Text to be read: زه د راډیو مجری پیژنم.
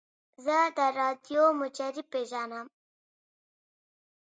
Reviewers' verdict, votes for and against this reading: accepted, 2, 0